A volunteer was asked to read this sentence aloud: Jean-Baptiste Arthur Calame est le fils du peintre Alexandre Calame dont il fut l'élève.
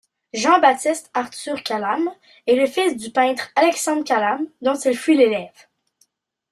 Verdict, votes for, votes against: accepted, 2, 1